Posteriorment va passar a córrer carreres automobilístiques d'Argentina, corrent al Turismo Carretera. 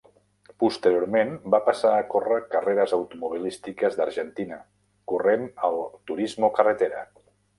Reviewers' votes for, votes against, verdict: 0, 2, rejected